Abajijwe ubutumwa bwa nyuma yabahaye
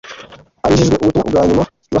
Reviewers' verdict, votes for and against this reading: rejected, 1, 2